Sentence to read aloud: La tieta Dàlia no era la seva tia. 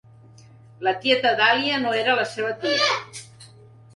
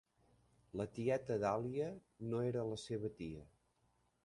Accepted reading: second